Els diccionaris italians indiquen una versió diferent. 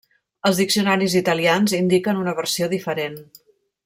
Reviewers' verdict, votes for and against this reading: rejected, 1, 2